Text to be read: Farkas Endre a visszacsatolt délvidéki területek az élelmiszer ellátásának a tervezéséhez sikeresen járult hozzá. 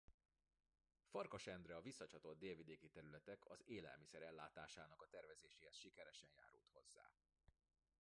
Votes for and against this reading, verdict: 0, 2, rejected